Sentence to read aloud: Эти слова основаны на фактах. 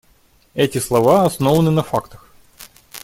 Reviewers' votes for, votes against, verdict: 2, 0, accepted